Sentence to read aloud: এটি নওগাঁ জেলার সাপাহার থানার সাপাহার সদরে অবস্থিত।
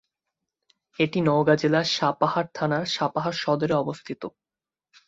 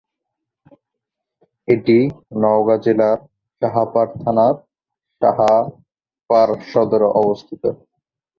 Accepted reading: first